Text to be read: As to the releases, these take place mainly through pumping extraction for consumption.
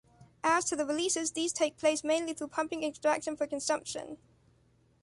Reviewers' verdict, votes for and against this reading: accepted, 3, 0